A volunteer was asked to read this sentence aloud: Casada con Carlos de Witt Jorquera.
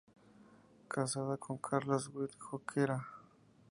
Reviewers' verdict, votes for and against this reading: accepted, 2, 0